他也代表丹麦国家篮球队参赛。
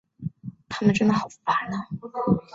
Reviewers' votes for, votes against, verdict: 2, 4, rejected